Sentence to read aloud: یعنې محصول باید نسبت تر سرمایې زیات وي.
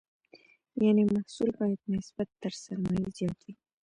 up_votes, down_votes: 1, 2